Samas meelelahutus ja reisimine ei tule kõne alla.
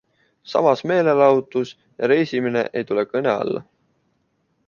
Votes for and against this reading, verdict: 2, 0, accepted